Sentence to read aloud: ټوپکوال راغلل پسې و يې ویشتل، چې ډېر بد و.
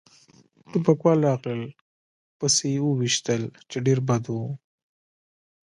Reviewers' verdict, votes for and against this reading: accepted, 2, 0